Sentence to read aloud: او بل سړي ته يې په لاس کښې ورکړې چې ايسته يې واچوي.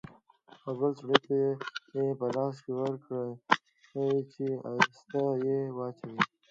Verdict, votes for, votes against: rejected, 1, 2